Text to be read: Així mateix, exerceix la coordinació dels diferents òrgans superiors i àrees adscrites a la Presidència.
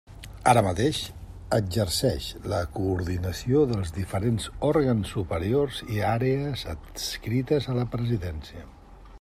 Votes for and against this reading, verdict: 0, 2, rejected